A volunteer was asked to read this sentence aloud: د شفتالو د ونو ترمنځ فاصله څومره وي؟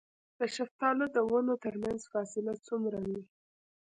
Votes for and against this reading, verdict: 1, 2, rejected